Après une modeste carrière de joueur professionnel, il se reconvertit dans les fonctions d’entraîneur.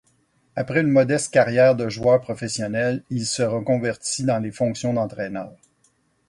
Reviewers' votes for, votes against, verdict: 2, 2, rejected